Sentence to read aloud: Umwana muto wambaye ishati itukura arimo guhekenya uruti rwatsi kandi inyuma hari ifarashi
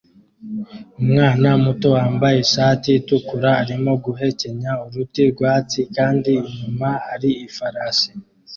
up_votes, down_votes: 2, 0